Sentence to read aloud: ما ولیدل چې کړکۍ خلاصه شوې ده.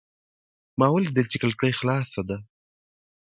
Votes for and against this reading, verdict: 2, 0, accepted